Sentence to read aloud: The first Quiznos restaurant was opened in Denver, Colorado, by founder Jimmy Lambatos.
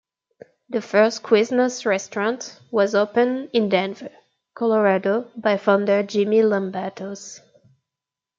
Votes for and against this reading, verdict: 2, 0, accepted